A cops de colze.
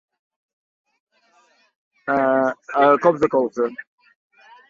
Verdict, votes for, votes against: rejected, 1, 2